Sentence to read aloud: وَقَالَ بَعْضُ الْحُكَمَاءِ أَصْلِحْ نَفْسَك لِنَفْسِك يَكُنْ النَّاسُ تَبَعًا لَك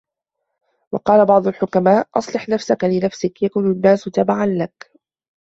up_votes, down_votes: 2, 1